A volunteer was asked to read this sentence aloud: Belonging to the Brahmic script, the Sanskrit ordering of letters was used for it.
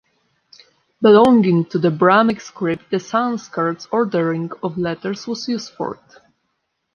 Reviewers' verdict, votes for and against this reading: rejected, 1, 2